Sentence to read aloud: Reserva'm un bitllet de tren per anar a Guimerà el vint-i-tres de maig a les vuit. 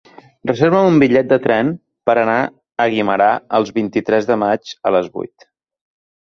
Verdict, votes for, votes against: rejected, 1, 2